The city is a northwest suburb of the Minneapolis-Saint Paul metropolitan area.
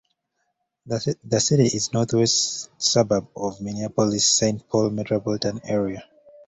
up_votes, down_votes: 1, 2